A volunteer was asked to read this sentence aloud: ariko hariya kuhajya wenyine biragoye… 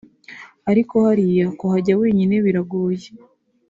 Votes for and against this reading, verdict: 3, 0, accepted